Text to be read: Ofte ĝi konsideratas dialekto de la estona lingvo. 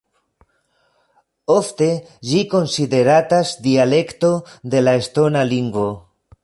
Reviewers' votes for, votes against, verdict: 2, 0, accepted